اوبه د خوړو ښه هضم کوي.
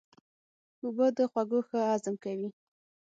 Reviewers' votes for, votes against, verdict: 6, 0, accepted